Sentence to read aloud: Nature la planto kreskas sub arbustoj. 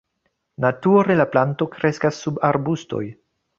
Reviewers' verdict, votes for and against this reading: accepted, 2, 0